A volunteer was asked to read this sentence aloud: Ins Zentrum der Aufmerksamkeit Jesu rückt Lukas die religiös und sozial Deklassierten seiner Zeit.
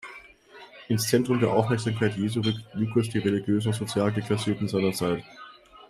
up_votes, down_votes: 2, 0